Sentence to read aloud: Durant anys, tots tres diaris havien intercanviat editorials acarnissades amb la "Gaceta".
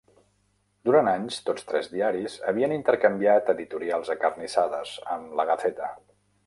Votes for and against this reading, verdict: 0, 2, rejected